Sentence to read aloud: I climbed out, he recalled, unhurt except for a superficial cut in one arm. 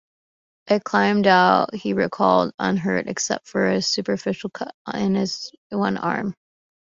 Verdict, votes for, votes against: rejected, 0, 2